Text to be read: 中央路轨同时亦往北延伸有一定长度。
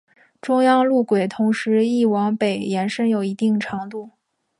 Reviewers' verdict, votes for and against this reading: accepted, 2, 0